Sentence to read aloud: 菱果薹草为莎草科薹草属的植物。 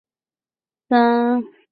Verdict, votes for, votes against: rejected, 0, 3